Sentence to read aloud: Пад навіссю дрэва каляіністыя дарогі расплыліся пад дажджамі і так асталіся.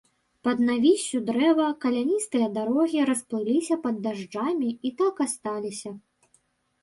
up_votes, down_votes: 1, 2